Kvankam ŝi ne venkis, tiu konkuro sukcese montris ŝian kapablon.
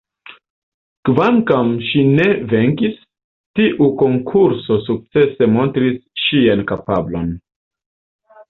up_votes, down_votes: 2, 1